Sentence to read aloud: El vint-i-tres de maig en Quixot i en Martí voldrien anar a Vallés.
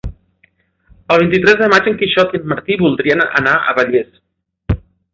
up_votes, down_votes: 2, 0